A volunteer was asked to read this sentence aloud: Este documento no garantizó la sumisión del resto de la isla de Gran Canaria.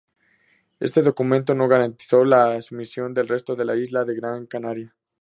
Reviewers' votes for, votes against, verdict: 2, 0, accepted